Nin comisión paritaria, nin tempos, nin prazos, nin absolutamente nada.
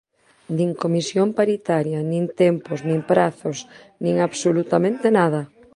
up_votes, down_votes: 1, 2